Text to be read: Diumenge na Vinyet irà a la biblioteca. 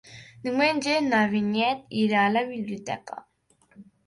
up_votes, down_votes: 3, 0